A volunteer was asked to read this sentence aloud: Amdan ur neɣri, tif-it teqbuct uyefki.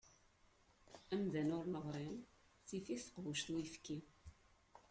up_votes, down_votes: 1, 2